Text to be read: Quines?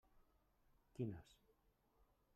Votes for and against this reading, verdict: 1, 2, rejected